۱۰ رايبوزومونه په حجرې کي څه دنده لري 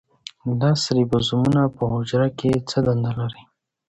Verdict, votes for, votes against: rejected, 0, 2